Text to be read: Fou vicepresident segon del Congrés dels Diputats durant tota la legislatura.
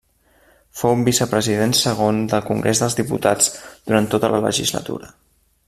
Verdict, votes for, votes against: accepted, 2, 0